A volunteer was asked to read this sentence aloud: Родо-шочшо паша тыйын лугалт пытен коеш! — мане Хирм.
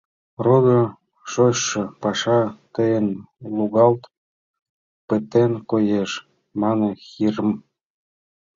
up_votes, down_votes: 1, 2